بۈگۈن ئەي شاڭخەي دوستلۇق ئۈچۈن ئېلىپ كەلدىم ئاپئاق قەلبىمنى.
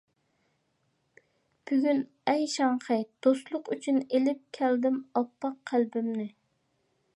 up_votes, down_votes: 2, 0